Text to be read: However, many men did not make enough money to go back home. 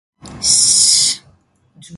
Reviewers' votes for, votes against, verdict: 0, 2, rejected